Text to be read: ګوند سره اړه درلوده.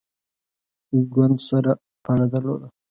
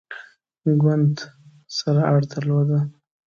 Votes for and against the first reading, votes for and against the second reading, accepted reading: 1, 2, 2, 0, second